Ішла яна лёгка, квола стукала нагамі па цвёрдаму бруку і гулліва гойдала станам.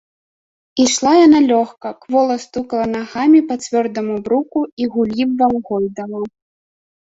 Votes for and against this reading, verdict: 0, 2, rejected